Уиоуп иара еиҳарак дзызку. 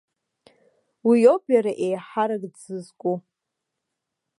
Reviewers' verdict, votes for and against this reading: accepted, 2, 0